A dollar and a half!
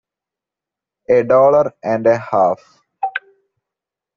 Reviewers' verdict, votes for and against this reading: accepted, 2, 0